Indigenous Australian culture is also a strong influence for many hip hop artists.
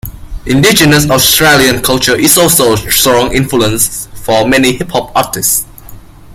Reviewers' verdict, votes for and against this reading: accepted, 2, 1